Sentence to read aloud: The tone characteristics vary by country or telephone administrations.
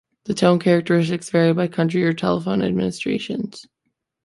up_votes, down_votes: 2, 0